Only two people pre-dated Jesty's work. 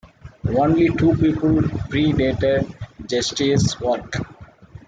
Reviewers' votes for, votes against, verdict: 2, 0, accepted